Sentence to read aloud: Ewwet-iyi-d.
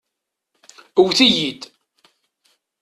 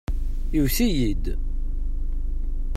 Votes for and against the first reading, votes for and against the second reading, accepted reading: 2, 0, 0, 2, first